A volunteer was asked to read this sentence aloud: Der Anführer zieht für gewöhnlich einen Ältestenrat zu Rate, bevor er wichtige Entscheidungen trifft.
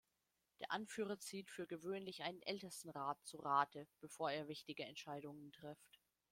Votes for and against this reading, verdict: 2, 0, accepted